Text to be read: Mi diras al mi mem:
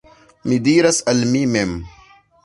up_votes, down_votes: 2, 1